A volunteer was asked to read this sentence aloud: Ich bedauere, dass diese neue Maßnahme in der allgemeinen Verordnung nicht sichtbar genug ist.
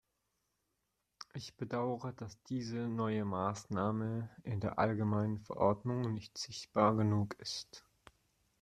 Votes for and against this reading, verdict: 2, 0, accepted